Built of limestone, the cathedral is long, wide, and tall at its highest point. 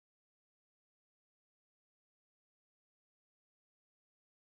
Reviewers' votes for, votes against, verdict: 0, 2, rejected